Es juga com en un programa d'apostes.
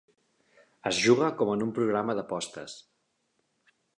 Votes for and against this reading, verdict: 3, 0, accepted